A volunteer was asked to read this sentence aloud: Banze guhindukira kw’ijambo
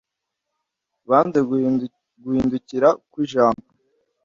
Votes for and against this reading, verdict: 0, 2, rejected